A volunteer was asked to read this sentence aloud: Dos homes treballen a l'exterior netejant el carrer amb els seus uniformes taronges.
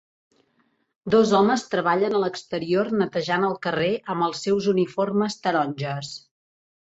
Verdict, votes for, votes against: accepted, 4, 0